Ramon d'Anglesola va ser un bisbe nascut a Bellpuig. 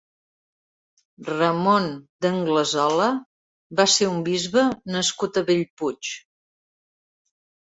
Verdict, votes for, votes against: accepted, 3, 0